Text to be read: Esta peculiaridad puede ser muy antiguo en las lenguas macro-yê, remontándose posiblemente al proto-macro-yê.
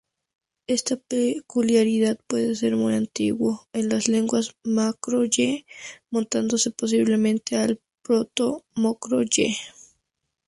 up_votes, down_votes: 0, 4